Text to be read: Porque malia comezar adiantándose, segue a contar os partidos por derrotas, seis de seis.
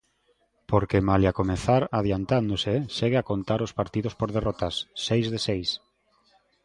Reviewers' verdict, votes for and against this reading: accepted, 2, 0